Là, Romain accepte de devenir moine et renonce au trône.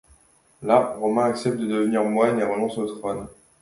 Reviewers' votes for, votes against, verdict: 2, 0, accepted